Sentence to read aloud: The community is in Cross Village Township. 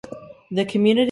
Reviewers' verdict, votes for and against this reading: rejected, 0, 2